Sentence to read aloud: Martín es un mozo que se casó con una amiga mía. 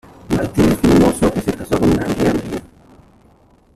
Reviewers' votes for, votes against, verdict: 0, 2, rejected